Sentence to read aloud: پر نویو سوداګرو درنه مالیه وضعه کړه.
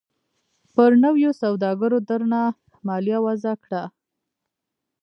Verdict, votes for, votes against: rejected, 0, 2